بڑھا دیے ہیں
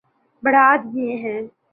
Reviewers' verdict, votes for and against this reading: accepted, 2, 0